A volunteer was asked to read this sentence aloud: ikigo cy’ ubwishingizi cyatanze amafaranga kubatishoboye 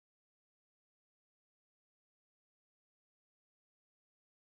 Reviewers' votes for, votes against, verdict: 1, 2, rejected